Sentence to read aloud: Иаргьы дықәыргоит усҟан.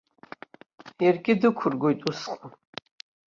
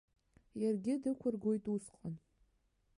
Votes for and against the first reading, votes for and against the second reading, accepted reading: 1, 2, 2, 0, second